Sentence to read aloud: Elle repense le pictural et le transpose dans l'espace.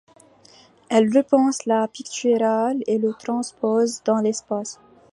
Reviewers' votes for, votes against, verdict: 1, 2, rejected